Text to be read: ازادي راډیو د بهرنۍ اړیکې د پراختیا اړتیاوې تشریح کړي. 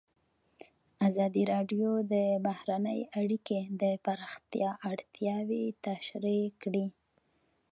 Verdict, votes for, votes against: accepted, 2, 1